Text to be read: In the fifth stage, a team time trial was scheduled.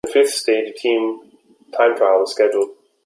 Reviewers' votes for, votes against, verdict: 0, 2, rejected